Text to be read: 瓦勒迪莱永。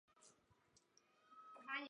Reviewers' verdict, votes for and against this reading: rejected, 1, 3